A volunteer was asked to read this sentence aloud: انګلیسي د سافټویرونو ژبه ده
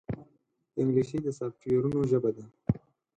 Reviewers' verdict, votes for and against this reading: accepted, 4, 0